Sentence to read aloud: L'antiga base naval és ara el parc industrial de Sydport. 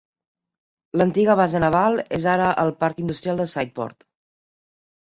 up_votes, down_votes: 2, 0